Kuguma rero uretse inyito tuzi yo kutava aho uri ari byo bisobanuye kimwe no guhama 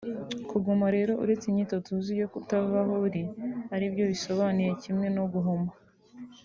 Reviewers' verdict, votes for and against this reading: rejected, 1, 2